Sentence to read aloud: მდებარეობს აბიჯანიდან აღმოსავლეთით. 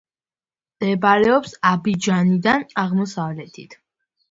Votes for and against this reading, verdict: 2, 0, accepted